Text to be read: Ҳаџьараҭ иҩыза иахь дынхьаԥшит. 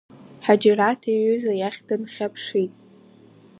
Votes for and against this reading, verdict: 0, 2, rejected